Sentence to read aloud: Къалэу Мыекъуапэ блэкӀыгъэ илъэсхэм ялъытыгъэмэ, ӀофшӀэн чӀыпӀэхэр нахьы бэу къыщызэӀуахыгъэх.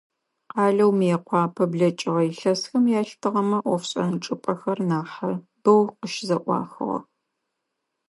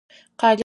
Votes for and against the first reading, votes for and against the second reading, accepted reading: 2, 0, 0, 4, first